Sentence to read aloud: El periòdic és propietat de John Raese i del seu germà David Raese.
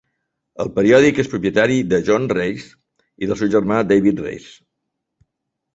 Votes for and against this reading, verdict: 1, 3, rejected